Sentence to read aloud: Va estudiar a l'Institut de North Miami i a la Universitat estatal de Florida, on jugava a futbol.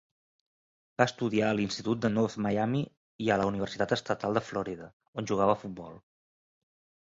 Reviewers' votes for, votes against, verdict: 1, 2, rejected